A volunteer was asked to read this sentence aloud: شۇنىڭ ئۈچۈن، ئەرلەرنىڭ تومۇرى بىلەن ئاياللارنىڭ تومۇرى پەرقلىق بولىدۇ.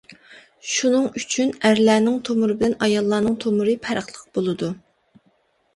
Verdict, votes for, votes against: accepted, 2, 0